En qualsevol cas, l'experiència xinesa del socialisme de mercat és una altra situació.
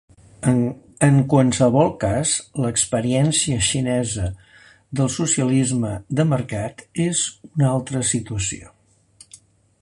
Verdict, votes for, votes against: rejected, 0, 2